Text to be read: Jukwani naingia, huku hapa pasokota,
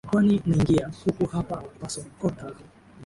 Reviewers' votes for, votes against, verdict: 1, 3, rejected